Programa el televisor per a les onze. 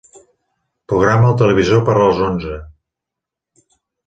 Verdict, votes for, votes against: accepted, 2, 0